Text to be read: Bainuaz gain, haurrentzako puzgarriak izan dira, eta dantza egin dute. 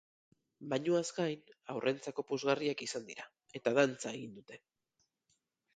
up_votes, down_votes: 4, 4